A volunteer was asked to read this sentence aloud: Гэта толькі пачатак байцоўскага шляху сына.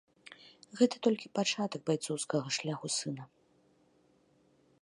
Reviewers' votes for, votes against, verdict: 2, 0, accepted